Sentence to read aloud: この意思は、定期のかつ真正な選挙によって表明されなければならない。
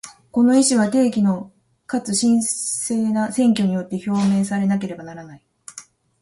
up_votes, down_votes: 0, 2